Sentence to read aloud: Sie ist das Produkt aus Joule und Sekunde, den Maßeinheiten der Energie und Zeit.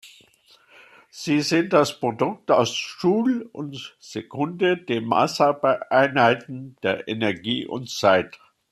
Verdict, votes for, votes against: rejected, 0, 2